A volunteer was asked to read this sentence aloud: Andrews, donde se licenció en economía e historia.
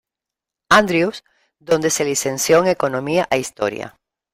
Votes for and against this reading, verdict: 1, 2, rejected